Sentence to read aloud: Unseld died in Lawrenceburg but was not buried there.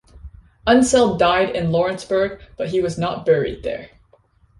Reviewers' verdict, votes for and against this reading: rejected, 1, 2